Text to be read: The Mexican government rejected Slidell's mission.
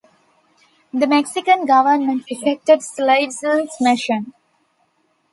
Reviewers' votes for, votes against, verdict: 1, 2, rejected